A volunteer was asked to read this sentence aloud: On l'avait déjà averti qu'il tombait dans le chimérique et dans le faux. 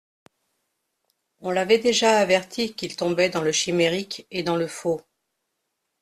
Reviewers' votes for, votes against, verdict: 2, 0, accepted